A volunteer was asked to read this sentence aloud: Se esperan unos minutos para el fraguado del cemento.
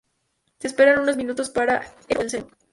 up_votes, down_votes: 0, 2